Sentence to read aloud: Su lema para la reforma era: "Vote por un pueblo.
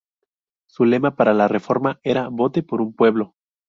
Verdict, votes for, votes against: accepted, 2, 0